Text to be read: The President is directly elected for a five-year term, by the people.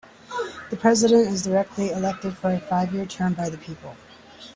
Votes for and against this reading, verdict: 2, 0, accepted